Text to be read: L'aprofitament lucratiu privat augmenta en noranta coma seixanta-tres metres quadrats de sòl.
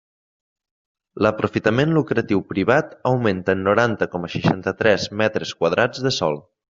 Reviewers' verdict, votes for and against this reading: accepted, 3, 0